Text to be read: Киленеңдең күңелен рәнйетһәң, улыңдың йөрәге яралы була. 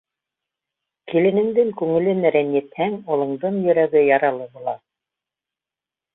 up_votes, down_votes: 2, 1